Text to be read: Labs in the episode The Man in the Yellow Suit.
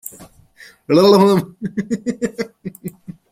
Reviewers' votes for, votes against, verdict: 0, 2, rejected